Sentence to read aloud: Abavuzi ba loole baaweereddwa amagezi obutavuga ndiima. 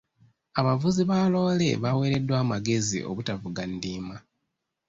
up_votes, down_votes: 2, 0